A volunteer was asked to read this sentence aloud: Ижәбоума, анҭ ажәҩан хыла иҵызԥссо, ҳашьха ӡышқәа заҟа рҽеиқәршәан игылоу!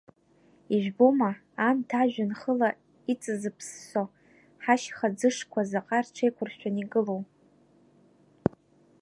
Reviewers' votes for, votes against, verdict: 1, 2, rejected